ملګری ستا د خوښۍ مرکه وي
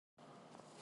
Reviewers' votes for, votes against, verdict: 0, 2, rejected